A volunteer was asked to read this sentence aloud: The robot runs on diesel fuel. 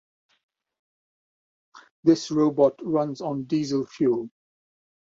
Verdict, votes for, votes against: rejected, 0, 2